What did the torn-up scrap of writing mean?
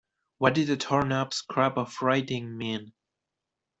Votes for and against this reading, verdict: 2, 0, accepted